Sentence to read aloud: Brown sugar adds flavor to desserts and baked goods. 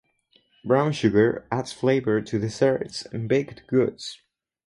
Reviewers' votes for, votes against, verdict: 4, 0, accepted